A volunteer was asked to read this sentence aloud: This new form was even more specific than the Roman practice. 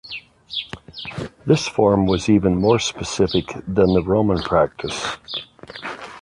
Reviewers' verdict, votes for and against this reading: rejected, 0, 2